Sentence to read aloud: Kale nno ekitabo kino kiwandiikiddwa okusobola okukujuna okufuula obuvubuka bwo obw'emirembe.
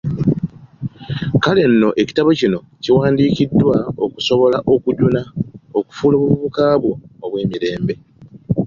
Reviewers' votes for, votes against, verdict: 2, 1, accepted